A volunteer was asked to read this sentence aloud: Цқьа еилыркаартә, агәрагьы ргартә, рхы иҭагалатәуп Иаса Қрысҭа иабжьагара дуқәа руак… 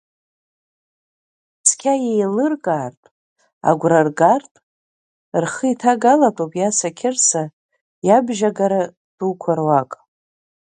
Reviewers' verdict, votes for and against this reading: rejected, 1, 2